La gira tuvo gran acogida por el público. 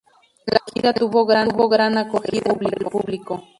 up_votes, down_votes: 0, 4